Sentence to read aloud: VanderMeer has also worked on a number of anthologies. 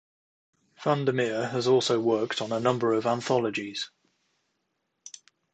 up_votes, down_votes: 2, 0